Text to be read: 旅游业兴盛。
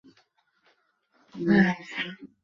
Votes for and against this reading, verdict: 5, 4, accepted